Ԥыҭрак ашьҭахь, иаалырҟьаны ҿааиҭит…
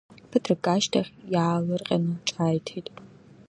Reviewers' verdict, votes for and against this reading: accepted, 2, 0